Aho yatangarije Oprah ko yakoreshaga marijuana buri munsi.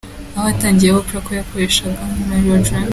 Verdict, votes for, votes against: rejected, 1, 3